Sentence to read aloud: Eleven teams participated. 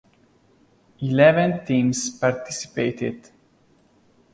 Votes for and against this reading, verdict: 2, 0, accepted